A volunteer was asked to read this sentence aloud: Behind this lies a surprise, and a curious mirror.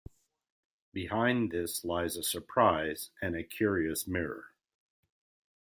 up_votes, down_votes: 2, 0